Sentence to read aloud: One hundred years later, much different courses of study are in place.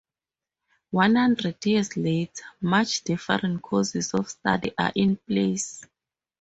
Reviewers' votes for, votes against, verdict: 0, 2, rejected